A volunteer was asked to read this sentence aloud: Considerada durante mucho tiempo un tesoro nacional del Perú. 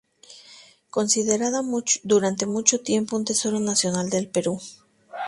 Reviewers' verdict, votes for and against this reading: rejected, 0, 2